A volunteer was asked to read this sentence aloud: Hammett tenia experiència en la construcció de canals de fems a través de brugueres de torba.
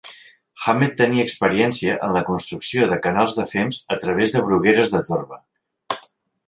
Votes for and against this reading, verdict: 2, 0, accepted